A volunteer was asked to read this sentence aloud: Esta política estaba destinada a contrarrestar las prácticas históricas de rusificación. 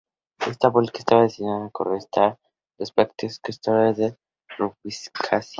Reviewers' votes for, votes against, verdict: 0, 2, rejected